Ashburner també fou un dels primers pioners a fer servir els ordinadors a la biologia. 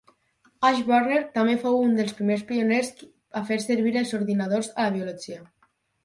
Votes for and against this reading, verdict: 6, 2, accepted